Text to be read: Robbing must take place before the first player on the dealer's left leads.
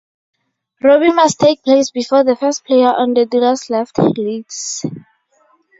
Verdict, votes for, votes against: accepted, 4, 0